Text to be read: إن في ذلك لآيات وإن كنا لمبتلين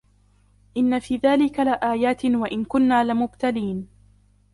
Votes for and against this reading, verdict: 2, 1, accepted